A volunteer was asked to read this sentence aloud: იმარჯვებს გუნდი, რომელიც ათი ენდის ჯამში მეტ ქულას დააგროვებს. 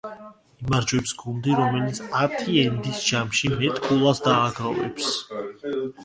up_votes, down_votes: 2, 1